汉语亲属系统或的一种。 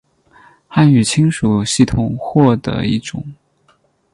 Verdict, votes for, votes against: accepted, 8, 0